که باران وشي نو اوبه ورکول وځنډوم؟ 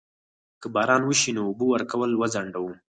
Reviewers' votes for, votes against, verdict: 2, 4, rejected